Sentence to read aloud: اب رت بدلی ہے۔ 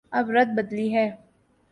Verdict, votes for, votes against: accepted, 2, 0